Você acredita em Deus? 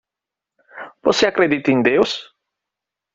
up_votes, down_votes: 2, 0